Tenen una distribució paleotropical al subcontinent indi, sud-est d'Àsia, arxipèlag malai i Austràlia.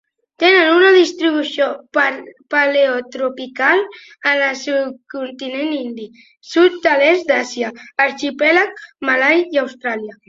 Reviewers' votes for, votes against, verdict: 0, 2, rejected